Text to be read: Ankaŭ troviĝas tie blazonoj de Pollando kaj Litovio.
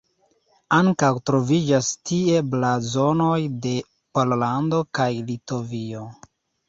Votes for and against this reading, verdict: 2, 0, accepted